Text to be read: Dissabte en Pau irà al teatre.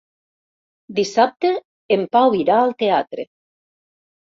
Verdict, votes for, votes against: accepted, 4, 0